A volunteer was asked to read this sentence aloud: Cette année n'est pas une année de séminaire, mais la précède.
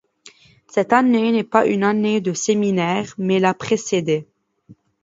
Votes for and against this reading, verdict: 1, 2, rejected